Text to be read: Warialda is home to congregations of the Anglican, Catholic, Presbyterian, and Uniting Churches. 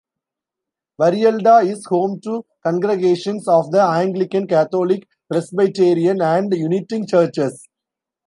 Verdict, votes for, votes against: rejected, 1, 2